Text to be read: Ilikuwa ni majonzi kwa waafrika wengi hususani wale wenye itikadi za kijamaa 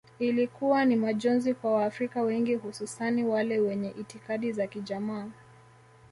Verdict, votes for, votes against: accepted, 2, 0